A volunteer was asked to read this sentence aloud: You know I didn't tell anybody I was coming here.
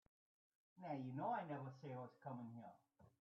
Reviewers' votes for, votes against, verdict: 2, 1, accepted